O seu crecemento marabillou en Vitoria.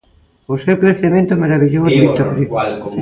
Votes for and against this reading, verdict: 0, 2, rejected